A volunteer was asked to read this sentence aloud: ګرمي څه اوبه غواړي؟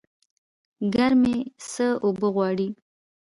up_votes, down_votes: 2, 0